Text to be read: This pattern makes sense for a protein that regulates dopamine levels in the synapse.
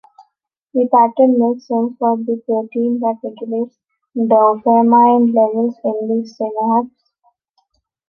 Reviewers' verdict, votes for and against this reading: rejected, 1, 3